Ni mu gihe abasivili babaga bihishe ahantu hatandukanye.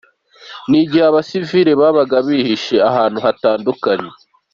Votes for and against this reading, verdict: 3, 1, accepted